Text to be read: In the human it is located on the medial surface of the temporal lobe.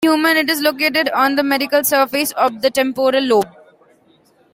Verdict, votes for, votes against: rejected, 0, 2